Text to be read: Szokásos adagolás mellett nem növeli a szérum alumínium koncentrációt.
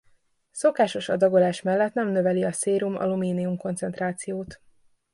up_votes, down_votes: 2, 0